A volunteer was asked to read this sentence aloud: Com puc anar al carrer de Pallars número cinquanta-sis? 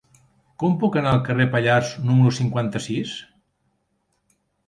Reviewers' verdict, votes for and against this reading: rejected, 1, 2